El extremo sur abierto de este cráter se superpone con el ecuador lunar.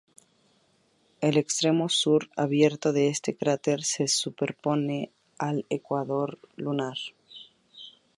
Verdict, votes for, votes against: accepted, 2, 0